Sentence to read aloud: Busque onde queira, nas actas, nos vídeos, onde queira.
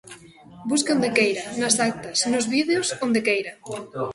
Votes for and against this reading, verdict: 2, 1, accepted